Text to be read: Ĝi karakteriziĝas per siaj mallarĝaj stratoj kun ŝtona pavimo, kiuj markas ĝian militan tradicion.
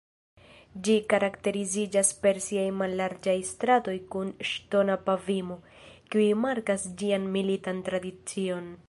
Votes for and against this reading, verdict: 1, 2, rejected